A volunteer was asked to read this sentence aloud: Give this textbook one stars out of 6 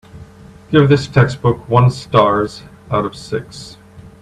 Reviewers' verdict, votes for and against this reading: rejected, 0, 2